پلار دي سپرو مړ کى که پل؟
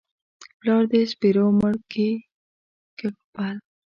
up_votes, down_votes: 1, 2